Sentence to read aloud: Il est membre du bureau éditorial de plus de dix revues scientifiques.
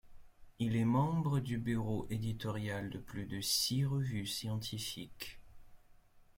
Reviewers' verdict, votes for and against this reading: rejected, 0, 2